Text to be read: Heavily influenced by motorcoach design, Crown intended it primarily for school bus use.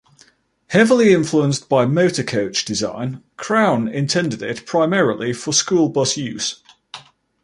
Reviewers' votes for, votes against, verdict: 2, 0, accepted